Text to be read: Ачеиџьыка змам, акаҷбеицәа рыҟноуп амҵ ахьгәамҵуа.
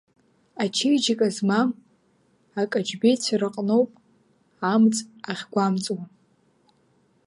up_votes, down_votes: 1, 2